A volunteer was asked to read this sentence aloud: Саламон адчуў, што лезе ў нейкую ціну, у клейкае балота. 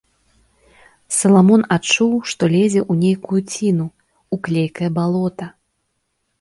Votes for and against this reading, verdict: 2, 0, accepted